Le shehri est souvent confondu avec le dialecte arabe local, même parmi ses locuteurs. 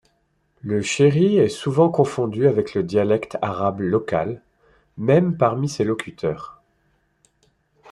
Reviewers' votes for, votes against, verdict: 2, 0, accepted